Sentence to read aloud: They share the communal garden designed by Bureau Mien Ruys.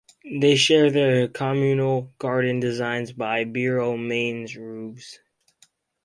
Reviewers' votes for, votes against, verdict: 0, 2, rejected